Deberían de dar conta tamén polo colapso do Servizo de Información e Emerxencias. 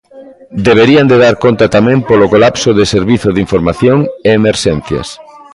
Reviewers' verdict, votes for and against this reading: rejected, 1, 2